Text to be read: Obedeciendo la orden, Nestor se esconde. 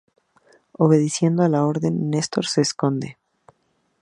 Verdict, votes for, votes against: accepted, 2, 0